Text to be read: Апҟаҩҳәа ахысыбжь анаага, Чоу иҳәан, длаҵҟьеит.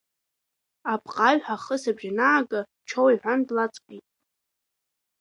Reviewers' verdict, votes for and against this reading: accepted, 2, 1